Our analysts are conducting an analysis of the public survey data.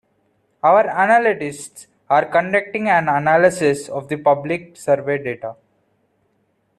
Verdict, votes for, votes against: rejected, 1, 2